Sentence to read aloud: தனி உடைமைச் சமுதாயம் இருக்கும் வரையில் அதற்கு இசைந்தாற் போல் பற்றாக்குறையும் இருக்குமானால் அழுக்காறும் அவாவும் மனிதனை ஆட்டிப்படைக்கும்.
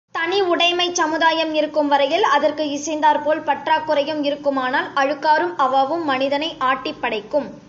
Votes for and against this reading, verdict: 2, 0, accepted